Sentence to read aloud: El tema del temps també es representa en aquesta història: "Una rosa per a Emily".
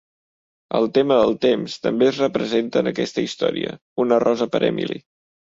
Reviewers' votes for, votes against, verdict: 1, 2, rejected